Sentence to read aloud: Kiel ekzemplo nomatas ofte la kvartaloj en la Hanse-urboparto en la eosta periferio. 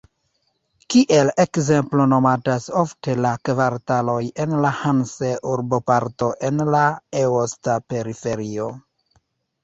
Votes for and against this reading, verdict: 2, 0, accepted